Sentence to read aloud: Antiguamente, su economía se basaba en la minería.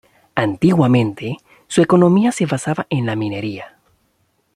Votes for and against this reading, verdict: 2, 0, accepted